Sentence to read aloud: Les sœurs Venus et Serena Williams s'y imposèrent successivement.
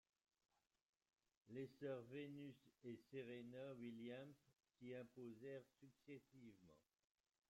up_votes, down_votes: 0, 2